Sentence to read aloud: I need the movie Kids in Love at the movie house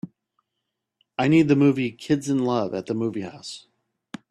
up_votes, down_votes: 2, 0